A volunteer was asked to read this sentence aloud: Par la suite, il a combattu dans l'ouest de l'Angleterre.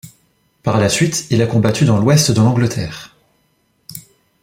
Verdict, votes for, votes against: accepted, 2, 0